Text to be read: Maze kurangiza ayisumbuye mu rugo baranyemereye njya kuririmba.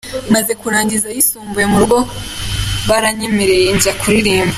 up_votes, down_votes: 2, 1